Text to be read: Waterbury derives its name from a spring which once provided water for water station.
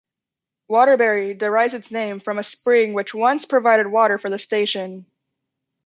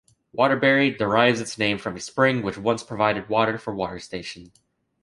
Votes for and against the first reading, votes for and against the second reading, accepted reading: 0, 2, 2, 0, second